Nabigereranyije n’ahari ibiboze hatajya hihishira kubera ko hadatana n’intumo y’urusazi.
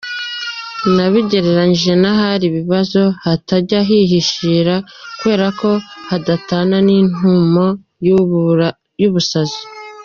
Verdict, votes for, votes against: rejected, 0, 2